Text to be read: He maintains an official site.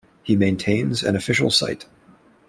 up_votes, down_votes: 2, 0